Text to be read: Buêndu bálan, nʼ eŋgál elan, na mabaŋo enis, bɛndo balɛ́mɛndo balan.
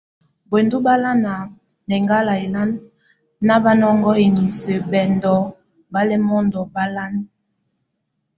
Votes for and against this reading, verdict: 2, 0, accepted